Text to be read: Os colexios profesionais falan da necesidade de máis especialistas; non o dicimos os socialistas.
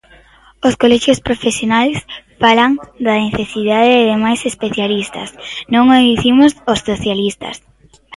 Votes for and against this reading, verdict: 1, 2, rejected